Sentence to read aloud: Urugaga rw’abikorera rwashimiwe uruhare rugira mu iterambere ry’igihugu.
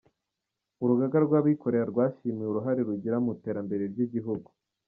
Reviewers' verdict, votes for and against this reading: accepted, 2, 1